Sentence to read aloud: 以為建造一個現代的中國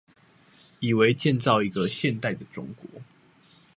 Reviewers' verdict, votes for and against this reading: accepted, 2, 0